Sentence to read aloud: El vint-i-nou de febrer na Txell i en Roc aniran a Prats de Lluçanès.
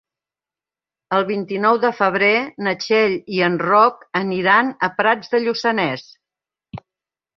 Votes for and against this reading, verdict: 3, 0, accepted